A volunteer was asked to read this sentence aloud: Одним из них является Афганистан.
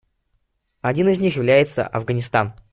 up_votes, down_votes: 0, 2